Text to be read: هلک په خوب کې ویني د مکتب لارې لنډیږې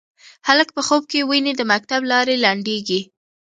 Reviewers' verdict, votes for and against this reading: accepted, 2, 1